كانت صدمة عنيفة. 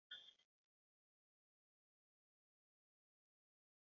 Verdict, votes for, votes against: rejected, 0, 2